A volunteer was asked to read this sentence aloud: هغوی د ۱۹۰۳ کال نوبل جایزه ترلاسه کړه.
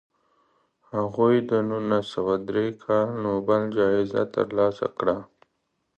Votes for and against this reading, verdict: 0, 2, rejected